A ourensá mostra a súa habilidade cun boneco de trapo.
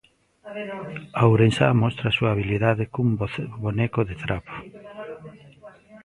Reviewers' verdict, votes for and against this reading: rejected, 0, 2